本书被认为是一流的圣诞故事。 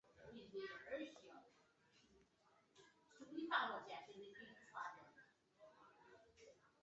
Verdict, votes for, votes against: rejected, 0, 3